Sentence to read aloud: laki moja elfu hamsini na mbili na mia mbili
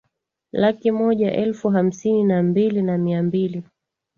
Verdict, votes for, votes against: accepted, 2, 0